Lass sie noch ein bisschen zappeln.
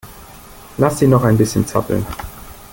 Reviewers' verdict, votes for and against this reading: accepted, 2, 0